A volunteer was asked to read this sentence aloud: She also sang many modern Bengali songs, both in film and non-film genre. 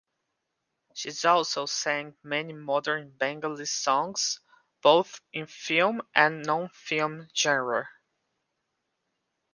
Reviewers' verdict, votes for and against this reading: rejected, 0, 2